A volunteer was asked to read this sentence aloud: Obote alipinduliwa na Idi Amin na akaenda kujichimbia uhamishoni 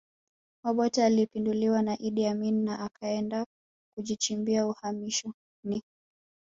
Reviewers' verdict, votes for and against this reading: rejected, 1, 2